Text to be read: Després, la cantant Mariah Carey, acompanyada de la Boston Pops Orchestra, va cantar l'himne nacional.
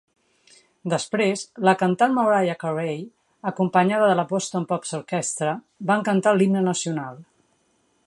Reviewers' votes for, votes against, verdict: 3, 1, accepted